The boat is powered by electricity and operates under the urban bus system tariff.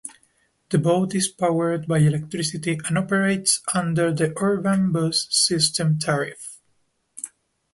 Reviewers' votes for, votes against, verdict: 1, 2, rejected